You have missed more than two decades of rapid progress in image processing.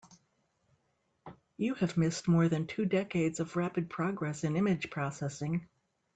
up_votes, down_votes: 2, 0